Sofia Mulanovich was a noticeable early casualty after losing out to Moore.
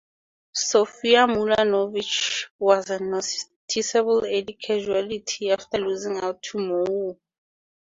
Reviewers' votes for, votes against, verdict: 2, 2, rejected